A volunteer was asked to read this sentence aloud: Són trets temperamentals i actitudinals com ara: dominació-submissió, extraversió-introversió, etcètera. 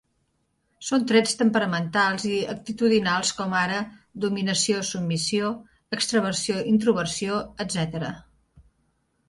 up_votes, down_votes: 2, 0